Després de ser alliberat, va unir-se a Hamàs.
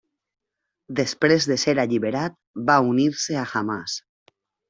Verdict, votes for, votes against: accepted, 3, 0